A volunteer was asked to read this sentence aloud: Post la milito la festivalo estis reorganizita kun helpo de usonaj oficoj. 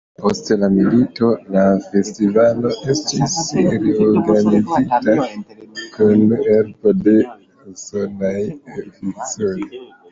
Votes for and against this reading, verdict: 2, 3, rejected